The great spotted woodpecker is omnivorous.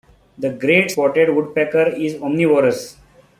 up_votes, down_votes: 2, 0